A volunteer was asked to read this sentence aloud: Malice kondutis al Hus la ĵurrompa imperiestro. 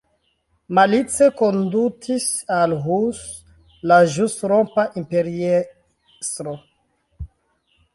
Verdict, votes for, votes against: rejected, 0, 2